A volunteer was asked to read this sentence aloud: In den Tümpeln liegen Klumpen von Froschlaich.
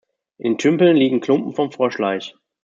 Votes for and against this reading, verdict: 1, 2, rejected